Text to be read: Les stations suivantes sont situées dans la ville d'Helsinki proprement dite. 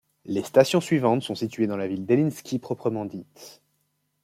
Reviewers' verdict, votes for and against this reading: rejected, 0, 2